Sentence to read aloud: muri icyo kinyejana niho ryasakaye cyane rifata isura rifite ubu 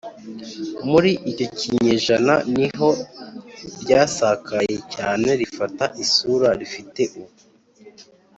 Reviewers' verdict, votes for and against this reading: accepted, 2, 0